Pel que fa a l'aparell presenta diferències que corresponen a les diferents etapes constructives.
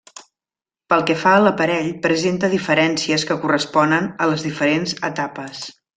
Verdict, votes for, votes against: rejected, 0, 2